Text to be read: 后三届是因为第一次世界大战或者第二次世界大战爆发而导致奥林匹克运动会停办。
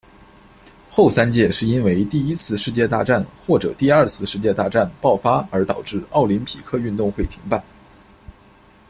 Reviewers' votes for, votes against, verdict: 2, 0, accepted